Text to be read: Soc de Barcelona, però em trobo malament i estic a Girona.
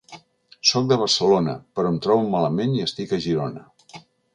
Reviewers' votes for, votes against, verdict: 5, 0, accepted